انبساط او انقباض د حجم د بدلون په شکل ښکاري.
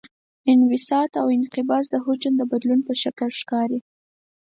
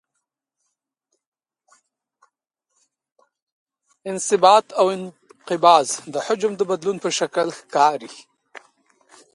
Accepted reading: first